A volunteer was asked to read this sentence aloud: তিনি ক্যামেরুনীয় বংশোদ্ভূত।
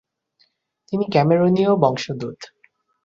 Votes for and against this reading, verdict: 0, 2, rejected